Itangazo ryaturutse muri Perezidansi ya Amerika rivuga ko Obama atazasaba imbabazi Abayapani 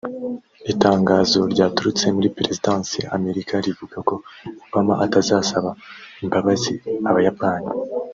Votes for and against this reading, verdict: 0, 3, rejected